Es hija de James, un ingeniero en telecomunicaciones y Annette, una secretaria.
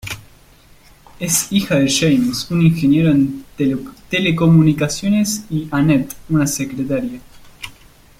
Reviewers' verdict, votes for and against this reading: accepted, 2, 1